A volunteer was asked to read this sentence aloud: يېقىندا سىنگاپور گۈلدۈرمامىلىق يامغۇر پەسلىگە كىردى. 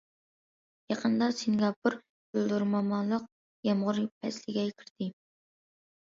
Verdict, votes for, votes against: accepted, 2, 1